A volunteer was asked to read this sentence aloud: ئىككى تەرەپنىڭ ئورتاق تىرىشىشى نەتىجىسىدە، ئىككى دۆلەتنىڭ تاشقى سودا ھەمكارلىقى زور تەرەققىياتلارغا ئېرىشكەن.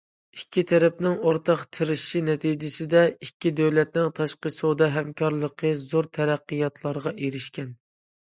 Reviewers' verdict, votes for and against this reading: accepted, 2, 0